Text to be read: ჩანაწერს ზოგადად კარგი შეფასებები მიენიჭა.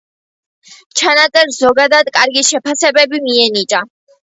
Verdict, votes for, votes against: accepted, 2, 1